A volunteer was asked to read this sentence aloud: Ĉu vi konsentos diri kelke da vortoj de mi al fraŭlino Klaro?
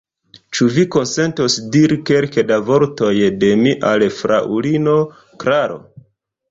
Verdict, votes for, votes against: accepted, 2, 0